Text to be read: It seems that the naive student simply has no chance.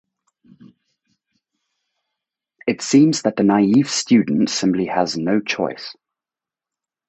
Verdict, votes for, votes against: rejected, 0, 4